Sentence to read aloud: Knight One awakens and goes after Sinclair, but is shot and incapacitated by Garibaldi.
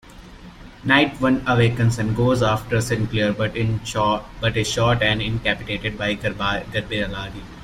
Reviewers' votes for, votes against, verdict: 0, 2, rejected